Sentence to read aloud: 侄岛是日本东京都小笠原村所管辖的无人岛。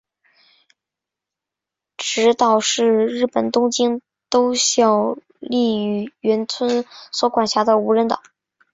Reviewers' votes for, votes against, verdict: 3, 1, accepted